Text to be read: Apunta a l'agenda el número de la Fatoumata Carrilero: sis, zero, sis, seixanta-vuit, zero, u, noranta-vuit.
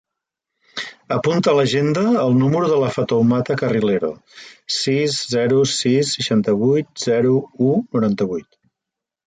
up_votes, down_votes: 3, 0